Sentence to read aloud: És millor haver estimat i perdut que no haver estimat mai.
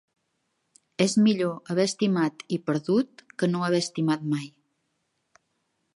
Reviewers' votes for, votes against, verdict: 3, 0, accepted